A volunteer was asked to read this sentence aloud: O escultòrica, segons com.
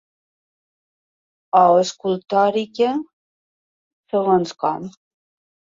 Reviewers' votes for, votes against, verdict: 2, 0, accepted